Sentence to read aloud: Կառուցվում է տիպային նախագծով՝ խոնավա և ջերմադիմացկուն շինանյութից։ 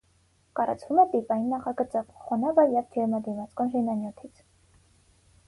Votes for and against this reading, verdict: 0, 6, rejected